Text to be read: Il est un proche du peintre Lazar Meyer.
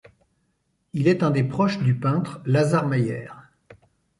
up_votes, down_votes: 0, 2